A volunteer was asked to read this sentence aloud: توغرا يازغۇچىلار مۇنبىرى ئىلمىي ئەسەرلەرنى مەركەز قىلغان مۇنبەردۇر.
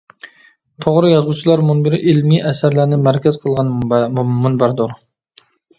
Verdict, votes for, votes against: rejected, 1, 2